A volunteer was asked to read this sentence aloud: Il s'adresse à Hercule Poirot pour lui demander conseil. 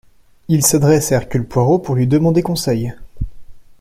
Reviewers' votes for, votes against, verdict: 2, 0, accepted